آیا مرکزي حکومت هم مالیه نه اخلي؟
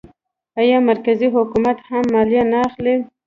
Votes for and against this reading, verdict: 1, 2, rejected